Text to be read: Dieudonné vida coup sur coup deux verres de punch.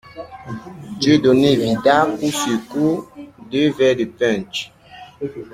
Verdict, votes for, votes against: rejected, 0, 2